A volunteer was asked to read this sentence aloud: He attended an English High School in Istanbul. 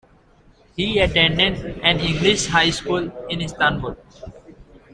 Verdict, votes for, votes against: accepted, 2, 0